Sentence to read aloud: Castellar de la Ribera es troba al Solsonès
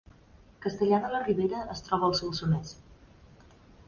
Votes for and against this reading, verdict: 0, 2, rejected